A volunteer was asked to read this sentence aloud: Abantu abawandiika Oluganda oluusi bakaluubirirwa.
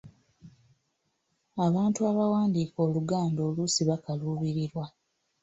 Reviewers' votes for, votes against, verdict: 1, 2, rejected